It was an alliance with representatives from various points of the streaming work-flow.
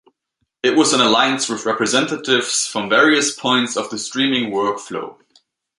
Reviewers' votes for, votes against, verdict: 2, 0, accepted